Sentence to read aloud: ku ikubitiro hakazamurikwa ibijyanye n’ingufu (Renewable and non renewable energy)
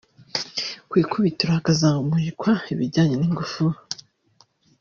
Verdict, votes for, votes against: rejected, 1, 2